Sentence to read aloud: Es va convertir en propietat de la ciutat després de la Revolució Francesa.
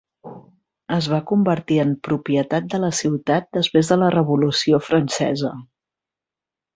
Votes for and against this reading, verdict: 3, 0, accepted